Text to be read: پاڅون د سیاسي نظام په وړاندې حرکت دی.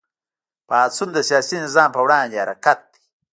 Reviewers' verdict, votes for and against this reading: rejected, 0, 2